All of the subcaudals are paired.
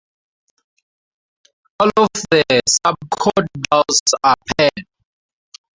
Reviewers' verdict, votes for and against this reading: rejected, 2, 2